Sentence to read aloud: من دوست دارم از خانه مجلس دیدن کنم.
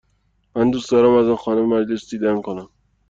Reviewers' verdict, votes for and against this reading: accepted, 2, 0